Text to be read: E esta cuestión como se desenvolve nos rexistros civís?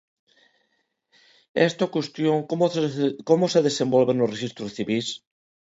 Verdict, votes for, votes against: rejected, 0, 2